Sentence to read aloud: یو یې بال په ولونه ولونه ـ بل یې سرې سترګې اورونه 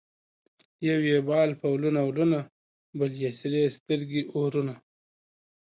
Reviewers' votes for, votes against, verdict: 2, 0, accepted